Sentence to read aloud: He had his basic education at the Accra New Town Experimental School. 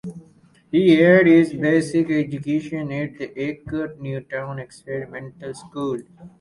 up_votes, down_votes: 4, 2